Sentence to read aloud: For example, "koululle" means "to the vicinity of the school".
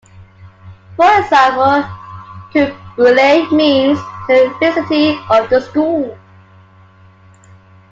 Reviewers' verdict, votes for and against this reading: accepted, 2, 1